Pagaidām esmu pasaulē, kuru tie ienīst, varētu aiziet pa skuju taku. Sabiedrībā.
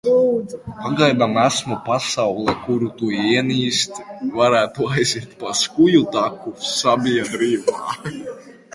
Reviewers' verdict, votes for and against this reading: rejected, 0, 2